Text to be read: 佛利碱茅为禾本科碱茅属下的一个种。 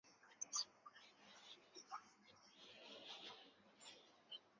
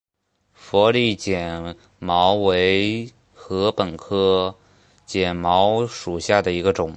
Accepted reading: second